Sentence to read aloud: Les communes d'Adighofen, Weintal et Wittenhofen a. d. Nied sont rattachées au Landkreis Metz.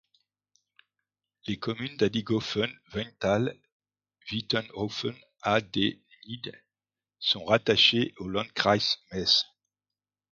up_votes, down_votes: 1, 2